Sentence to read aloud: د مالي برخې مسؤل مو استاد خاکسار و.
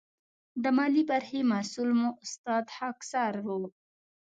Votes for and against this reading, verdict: 2, 0, accepted